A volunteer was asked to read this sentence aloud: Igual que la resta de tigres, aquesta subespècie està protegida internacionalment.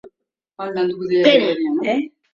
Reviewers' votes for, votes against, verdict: 0, 2, rejected